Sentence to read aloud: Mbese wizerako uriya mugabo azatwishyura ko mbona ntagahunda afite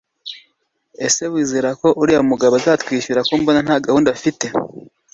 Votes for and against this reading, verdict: 2, 0, accepted